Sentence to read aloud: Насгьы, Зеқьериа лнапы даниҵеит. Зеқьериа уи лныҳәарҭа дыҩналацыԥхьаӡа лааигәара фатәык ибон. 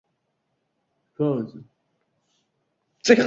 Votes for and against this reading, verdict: 0, 2, rejected